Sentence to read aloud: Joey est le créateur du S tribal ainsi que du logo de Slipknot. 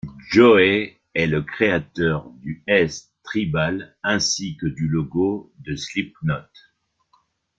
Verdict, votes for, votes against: rejected, 1, 2